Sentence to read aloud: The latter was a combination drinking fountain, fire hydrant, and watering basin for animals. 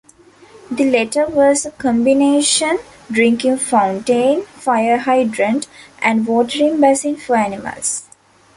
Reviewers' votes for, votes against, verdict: 2, 0, accepted